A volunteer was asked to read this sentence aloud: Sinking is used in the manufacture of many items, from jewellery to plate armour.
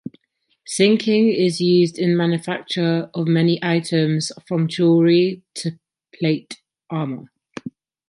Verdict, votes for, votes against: rejected, 0, 2